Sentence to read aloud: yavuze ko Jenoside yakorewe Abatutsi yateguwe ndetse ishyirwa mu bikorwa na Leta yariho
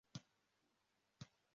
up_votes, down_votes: 0, 2